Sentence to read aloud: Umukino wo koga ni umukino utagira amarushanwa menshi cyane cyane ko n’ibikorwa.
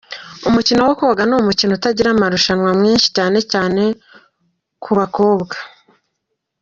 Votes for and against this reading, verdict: 3, 4, rejected